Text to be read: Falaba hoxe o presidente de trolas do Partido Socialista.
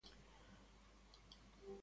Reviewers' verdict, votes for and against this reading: rejected, 0, 2